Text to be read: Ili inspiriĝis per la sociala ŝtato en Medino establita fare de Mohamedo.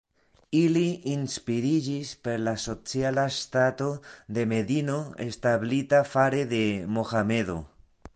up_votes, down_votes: 1, 2